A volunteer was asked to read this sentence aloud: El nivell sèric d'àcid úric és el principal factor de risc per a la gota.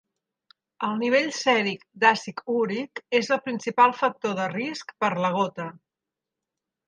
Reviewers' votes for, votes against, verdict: 1, 2, rejected